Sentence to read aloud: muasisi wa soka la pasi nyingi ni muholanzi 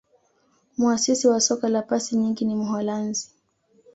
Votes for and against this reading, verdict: 2, 0, accepted